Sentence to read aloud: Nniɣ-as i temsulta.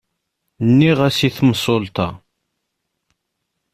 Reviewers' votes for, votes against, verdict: 0, 2, rejected